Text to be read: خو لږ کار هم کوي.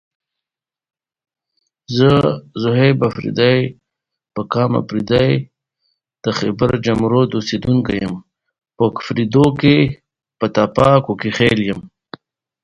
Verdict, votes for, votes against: rejected, 0, 2